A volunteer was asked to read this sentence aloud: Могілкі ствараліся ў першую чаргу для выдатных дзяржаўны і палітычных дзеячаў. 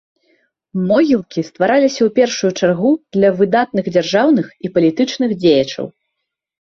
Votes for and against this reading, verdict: 2, 0, accepted